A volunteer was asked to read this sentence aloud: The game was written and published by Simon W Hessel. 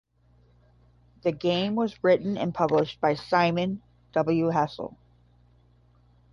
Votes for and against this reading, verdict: 10, 0, accepted